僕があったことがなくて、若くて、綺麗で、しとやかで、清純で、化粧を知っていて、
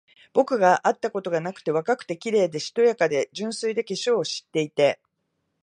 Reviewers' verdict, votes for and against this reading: rejected, 1, 2